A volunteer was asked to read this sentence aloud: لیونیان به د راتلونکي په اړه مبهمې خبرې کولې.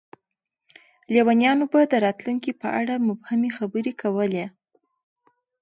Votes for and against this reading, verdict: 0, 2, rejected